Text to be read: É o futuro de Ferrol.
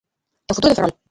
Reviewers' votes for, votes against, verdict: 0, 2, rejected